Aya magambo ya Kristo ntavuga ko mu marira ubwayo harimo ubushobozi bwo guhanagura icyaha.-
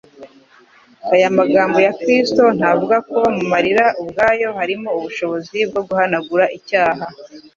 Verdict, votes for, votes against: accepted, 2, 0